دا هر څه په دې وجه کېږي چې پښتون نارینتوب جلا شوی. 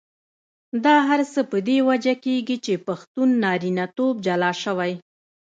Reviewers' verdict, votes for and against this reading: accepted, 2, 0